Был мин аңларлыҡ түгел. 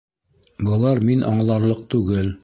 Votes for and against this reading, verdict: 0, 2, rejected